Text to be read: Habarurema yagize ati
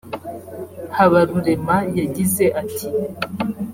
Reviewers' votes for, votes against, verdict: 3, 0, accepted